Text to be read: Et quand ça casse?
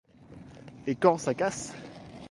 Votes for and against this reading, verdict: 1, 2, rejected